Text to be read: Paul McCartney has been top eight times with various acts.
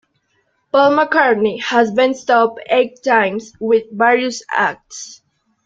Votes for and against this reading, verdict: 2, 0, accepted